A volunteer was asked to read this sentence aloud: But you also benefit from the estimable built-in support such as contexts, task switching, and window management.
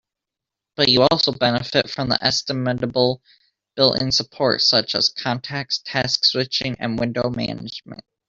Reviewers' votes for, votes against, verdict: 0, 2, rejected